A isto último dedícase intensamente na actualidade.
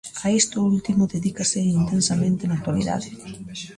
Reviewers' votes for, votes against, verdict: 1, 2, rejected